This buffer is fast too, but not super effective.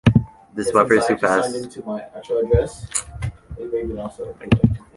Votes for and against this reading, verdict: 1, 2, rejected